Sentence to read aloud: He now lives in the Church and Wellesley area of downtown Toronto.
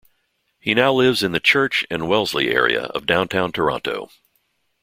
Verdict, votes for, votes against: accepted, 2, 0